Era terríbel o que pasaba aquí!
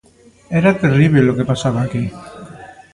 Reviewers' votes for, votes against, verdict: 2, 0, accepted